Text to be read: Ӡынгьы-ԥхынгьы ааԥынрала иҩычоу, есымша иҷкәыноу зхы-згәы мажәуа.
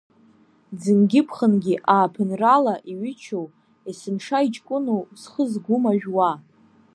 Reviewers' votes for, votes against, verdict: 2, 1, accepted